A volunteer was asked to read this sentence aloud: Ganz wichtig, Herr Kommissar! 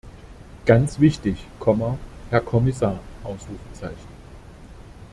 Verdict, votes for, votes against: rejected, 0, 2